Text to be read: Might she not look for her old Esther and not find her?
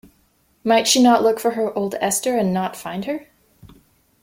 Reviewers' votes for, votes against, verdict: 2, 0, accepted